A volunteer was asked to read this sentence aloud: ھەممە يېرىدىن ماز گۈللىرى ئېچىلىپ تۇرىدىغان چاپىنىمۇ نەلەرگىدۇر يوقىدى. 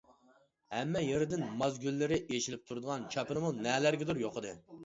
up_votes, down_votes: 2, 0